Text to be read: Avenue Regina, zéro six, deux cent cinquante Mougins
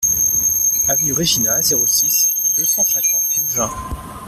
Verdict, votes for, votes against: rejected, 1, 2